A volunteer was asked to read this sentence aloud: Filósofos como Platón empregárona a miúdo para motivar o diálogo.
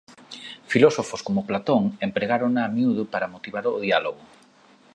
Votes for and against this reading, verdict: 2, 0, accepted